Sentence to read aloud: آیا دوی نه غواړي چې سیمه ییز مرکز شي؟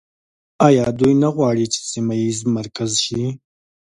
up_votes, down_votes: 2, 1